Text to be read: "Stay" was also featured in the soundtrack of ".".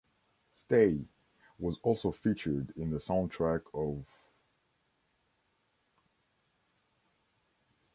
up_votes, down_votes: 2, 0